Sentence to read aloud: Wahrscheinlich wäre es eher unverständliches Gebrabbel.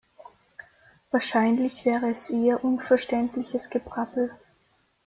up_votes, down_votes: 0, 2